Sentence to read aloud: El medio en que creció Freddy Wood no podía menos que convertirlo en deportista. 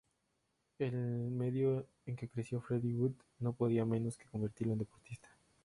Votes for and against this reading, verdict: 0, 4, rejected